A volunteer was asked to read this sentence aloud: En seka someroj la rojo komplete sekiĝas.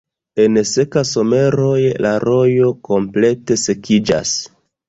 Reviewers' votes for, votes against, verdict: 2, 0, accepted